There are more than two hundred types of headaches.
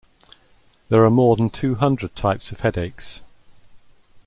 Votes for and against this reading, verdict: 2, 0, accepted